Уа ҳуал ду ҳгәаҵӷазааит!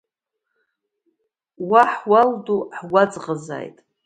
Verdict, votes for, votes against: accepted, 2, 0